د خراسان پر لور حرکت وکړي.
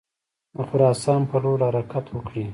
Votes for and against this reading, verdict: 0, 2, rejected